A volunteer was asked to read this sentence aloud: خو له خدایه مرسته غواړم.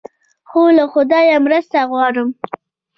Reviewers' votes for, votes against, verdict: 3, 0, accepted